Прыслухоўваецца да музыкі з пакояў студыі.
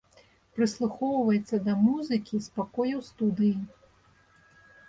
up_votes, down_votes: 2, 0